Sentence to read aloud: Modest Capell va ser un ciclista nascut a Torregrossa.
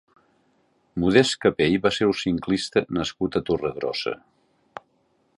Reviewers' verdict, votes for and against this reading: rejected, 0, 2